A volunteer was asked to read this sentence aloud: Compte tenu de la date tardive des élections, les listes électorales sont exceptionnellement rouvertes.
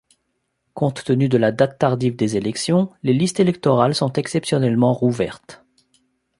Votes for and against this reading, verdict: 2, 0, accepted